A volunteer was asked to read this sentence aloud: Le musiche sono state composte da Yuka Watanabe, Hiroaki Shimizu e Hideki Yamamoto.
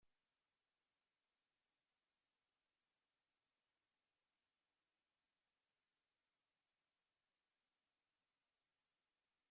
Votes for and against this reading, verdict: 0, 2, rejected